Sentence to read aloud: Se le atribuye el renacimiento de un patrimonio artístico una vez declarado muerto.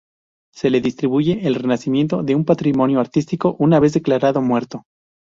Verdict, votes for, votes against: rejected, 0, 2